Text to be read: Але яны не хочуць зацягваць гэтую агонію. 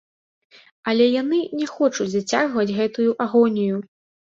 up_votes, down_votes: 2, 0